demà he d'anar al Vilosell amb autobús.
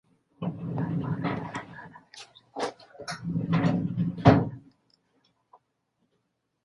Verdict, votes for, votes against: rejected, 0, 3